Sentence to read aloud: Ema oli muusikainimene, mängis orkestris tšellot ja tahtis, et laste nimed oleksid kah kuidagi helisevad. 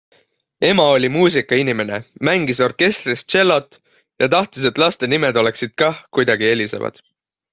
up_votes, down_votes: 2, 0